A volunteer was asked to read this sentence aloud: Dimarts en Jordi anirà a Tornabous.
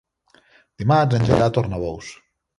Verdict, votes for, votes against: rejected, 0, 2